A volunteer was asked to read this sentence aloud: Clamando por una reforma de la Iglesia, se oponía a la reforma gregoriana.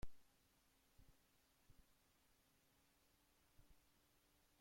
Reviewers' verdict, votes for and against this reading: rejected, 0, 2